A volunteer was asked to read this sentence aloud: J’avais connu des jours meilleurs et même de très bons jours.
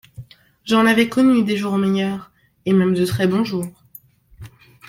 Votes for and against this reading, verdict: 0, 2, rejected